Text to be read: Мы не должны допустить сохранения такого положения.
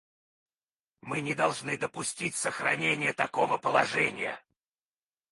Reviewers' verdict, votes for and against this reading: rejected, 0, 4